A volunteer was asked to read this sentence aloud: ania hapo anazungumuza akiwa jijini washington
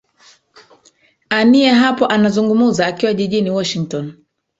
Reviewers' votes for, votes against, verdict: 1, 2, rejected